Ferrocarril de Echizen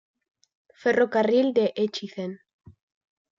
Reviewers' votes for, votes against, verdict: 1, 2, rejected